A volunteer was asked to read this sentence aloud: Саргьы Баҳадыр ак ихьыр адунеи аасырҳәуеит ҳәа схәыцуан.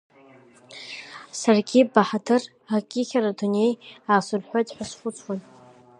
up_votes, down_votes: 2, 0